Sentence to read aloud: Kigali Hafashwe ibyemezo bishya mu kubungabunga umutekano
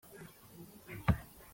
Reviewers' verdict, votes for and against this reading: rejected, 0, 3